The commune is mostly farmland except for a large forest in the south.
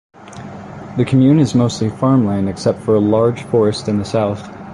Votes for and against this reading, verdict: 2, 0, accepted